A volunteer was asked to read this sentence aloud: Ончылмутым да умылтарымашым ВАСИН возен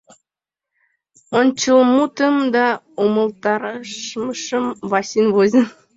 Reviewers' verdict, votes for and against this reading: rejected, 1, 5